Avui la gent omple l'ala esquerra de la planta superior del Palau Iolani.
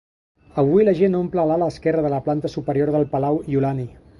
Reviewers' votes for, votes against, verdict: 2, 0, accepted